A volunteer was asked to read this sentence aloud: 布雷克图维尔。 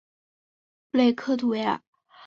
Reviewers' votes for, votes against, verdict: 7, 0, accepted